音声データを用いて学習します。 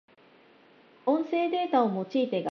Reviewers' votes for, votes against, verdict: 1, 2, rejected